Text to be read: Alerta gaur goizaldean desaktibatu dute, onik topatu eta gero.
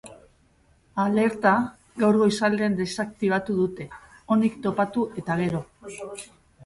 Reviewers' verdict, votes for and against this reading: accepted, 3, 0